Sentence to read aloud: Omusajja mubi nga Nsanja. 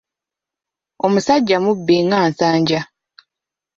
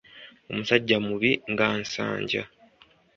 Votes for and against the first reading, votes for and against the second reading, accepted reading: 1, 2, 2, 1, second